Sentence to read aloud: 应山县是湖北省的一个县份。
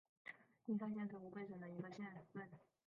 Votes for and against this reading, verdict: 0, 2, rejected